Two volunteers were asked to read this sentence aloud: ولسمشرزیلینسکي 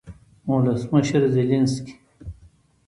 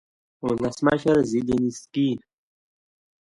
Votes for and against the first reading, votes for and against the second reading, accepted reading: 1, 2, 2, 0, second